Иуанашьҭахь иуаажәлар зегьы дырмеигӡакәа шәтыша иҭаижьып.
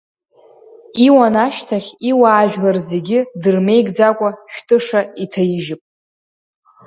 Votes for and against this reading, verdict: 0, 2, rejected